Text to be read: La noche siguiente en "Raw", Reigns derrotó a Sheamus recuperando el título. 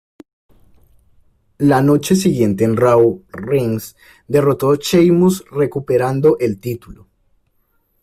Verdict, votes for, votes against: accepted, 2, 0